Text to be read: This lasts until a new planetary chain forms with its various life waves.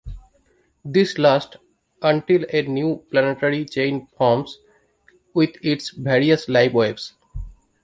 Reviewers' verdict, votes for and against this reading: accepted, 2, 1